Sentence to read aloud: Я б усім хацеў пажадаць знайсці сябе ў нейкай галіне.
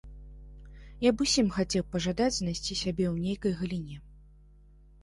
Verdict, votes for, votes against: accepted, 2, 0